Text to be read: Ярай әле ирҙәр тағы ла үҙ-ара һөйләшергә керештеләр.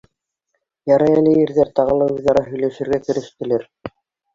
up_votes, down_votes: 0, 2